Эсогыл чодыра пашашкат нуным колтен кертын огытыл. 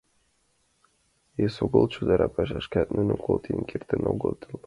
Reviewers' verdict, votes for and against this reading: accepted, 2, 0